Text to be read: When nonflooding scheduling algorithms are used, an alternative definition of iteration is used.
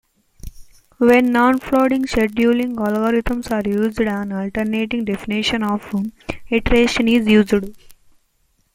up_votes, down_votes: 1, 2